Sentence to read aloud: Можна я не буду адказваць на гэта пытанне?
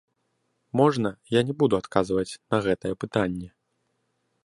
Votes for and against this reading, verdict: 1, 2, rejected